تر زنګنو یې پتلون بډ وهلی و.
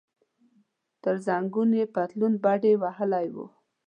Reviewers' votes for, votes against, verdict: 1, 2, rejected